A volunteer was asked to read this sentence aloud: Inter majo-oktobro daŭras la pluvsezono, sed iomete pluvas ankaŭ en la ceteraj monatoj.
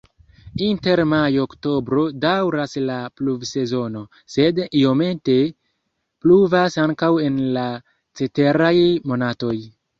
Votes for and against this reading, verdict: 0, 2, rejected